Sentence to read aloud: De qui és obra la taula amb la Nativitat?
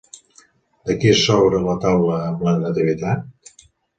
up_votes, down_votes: 2, 0